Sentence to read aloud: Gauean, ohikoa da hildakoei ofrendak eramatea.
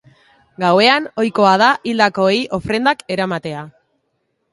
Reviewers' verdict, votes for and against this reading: accepted, 2, 0